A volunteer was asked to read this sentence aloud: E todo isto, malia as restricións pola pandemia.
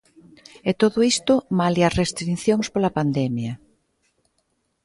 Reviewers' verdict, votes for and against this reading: rejected, 0, 2